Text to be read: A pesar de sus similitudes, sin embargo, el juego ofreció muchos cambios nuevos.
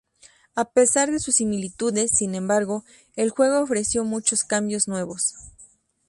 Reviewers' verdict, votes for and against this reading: accepted, 4, 0